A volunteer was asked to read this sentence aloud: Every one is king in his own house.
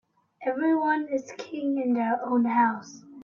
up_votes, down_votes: 0, 2